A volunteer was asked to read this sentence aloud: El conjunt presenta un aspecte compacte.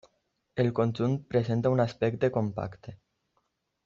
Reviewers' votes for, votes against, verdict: 3, 0, accepted